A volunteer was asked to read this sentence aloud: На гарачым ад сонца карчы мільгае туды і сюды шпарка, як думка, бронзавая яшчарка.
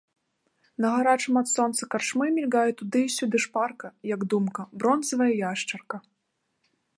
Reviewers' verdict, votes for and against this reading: rejected, 0, 2